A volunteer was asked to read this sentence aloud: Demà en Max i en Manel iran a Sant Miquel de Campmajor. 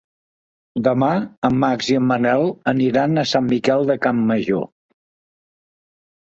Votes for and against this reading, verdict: 1, 3, rejected